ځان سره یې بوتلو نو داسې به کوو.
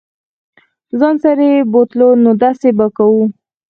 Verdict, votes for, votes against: accepted, 4, 2